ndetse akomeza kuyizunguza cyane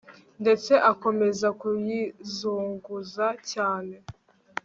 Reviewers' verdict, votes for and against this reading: accepted, 2, 0